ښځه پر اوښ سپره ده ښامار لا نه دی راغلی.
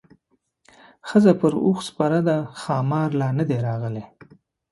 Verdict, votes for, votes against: accepted, 2, 0